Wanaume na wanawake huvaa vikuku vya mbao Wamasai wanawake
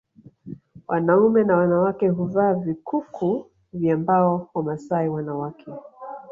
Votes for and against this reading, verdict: 3, 1, accepted